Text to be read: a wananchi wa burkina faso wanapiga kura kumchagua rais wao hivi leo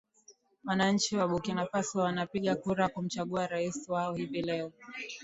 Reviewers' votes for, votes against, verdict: 2, 0, accepted